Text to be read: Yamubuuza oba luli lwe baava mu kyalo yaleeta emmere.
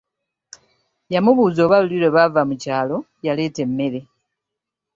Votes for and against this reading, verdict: 2, 0, accepted